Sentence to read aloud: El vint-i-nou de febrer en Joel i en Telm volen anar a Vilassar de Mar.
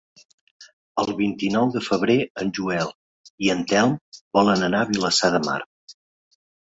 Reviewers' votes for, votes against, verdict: 2, 0, accepted